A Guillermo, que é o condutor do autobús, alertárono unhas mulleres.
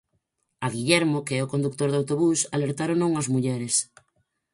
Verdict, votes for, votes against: rejected, 0, 4